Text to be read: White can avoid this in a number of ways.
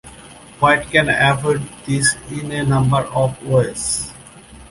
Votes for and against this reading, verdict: 1, 2, rejected